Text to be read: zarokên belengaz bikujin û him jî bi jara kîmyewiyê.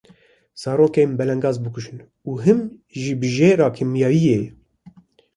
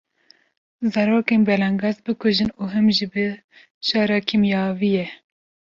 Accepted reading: second